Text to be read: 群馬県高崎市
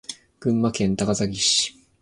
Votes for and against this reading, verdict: 4, 0, accepted